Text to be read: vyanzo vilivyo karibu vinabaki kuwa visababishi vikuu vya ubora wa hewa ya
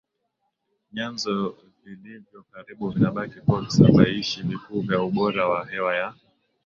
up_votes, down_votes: 2, 1